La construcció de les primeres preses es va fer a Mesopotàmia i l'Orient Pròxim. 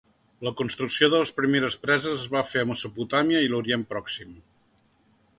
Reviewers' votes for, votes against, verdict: 2, 0, accepted